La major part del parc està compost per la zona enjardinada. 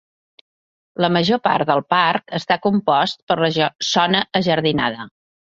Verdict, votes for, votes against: rejected, 0, 2